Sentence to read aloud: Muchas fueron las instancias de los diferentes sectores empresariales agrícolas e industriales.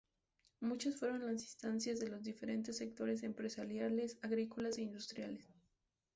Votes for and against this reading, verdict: 0, 2, rejected